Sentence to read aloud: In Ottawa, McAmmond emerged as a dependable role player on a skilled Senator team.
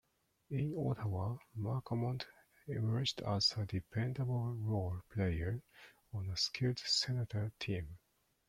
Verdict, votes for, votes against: accepted, 2, 0